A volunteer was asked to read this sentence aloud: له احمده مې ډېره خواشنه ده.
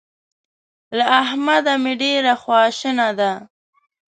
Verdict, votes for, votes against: rejected, 1, 2